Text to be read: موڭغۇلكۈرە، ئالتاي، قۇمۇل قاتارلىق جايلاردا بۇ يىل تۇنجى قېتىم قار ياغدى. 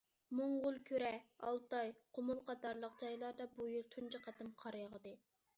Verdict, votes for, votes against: accepted, 2, 0